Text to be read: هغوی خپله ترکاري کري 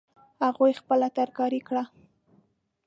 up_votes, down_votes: 0, 2